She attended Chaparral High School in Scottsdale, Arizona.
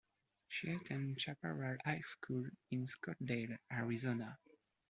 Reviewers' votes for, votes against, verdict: 1, 2, rejected